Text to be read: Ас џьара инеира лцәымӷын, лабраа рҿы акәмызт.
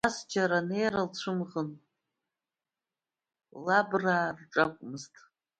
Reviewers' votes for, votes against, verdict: 1, 2, rejected